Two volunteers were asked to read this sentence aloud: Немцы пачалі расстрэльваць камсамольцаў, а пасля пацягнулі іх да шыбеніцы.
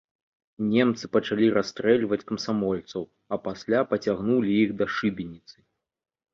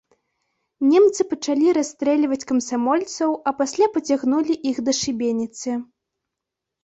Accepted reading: first